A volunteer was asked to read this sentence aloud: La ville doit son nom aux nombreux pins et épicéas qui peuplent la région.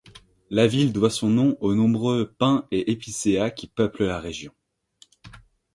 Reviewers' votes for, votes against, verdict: 2, 1, accepted